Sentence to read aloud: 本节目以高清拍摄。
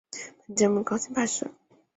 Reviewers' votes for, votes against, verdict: 0, 2, rejected